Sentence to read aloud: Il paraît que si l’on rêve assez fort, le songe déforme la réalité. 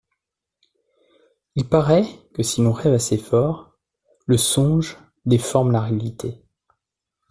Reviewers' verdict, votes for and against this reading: accepted, 2, 0